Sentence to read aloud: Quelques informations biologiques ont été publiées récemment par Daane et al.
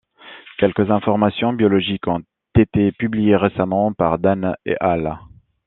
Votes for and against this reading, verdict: 1, 2, rejected